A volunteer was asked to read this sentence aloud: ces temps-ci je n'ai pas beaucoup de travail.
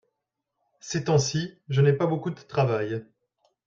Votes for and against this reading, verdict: 1, 2, rejected